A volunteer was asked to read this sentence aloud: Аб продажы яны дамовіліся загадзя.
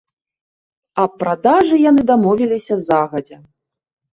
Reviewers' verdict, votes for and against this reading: rejected, 1, 2